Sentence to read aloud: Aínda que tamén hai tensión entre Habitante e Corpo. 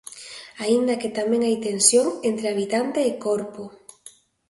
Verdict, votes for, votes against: accepted, 2, 0